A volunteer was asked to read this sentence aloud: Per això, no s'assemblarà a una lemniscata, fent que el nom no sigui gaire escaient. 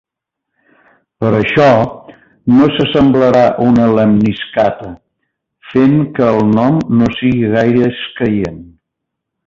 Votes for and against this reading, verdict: 1, 2, rejected